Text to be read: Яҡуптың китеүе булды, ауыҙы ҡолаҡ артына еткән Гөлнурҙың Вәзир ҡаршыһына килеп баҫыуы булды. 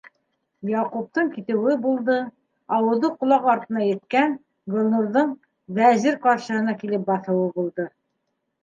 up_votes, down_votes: 2, 0